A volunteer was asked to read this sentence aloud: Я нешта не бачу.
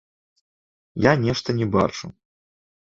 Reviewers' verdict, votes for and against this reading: rejected, 1, 2